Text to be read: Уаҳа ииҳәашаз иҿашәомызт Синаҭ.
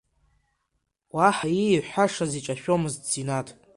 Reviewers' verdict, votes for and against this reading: accepted, 2, 0